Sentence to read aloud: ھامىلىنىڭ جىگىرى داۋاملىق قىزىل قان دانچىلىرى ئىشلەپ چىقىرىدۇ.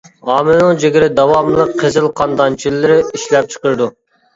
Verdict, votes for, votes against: accepted, 2, 1